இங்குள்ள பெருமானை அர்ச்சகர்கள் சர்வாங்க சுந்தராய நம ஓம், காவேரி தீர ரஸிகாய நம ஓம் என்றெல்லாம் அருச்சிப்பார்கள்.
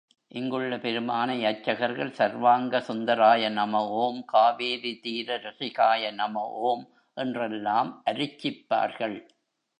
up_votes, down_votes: 0, 2